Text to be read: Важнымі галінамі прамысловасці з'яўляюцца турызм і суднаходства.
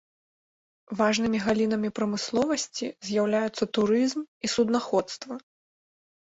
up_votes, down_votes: 2, 0